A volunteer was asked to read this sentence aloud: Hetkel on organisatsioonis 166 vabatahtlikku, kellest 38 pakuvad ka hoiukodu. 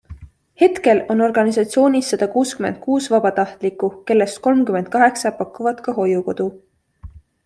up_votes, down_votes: 0, 2